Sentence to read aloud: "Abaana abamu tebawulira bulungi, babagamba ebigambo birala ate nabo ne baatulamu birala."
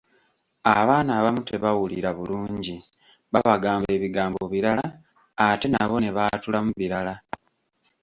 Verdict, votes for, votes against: accepted, 2, 0